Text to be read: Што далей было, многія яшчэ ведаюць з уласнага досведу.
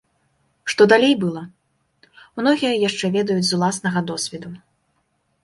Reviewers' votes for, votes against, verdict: 2, 1, accepted